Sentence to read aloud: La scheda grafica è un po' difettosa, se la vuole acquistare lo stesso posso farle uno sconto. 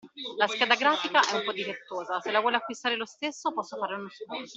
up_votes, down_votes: 2, 1